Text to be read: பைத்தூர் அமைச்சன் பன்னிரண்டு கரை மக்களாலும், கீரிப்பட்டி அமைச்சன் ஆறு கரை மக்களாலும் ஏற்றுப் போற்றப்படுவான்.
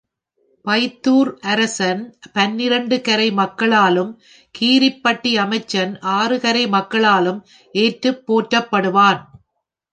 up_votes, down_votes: 1, 3